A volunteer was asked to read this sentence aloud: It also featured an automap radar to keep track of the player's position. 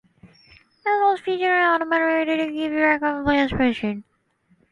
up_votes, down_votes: 0, 2